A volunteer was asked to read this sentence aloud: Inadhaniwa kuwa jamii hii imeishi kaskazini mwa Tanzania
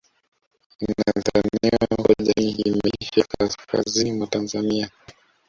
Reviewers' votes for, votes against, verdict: 0, 2, rejected